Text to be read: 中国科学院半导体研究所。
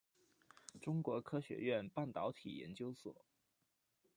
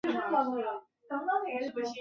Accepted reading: first